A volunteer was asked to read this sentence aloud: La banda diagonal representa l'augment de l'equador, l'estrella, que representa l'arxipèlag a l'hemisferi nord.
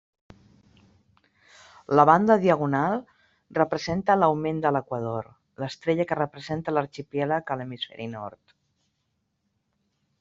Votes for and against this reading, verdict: 0, 2, rejected